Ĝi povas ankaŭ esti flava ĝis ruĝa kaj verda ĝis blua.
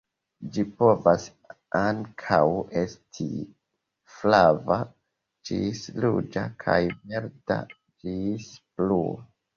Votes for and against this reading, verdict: 1, 2, rejected